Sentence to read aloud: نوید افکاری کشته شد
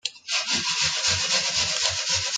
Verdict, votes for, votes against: rejected, 0, 2